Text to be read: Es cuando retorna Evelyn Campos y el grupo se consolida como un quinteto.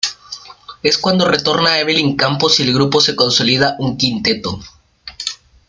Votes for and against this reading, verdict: 2, 1, accepted